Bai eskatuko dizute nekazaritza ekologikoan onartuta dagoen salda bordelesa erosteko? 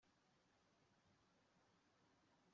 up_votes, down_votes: 1, 2